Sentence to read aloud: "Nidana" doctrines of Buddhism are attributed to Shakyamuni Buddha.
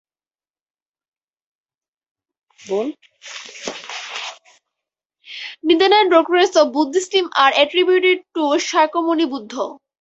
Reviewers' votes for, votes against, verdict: 0, 4, rejected